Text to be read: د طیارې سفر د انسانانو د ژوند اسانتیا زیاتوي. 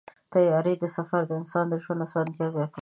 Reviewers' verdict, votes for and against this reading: rejected, 1, 2